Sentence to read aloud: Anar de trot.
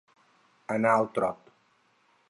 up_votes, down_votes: 0, 4